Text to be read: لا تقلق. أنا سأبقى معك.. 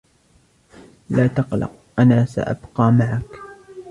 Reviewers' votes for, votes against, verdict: 2, 1, accepted